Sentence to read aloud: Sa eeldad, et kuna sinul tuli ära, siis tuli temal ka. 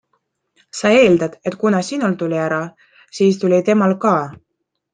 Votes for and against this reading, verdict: 2, 0, accepted